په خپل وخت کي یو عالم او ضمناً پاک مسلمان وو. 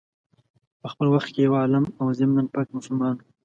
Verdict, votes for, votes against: accepted, 2, 0